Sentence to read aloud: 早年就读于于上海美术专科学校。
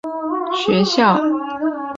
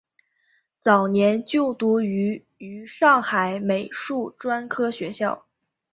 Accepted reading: second